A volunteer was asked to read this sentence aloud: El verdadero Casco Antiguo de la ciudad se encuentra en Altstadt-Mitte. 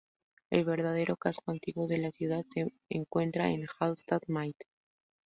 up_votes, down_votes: 2, 2